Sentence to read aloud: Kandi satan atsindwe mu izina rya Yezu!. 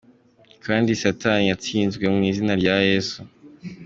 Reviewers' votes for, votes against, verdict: 2, 1, accepted